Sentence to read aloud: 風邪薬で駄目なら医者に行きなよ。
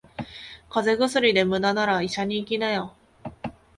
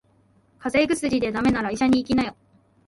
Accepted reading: second